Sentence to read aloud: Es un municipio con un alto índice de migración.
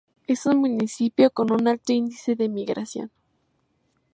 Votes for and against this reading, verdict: 2, 0, accepted